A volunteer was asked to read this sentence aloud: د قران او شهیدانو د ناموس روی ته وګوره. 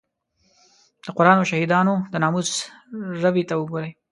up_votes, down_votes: 0, 2